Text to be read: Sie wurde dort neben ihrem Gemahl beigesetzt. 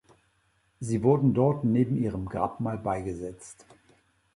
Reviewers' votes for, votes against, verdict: 0, 2, rejected